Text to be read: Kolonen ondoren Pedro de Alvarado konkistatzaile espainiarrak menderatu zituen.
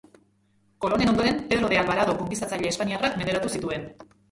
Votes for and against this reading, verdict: 0, 2, rejected